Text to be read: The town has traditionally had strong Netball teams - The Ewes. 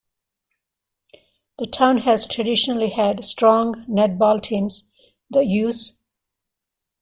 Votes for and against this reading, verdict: 2, 0, accepted